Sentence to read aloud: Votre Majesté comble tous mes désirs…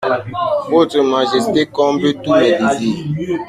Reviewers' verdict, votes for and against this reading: rejected, 1, 2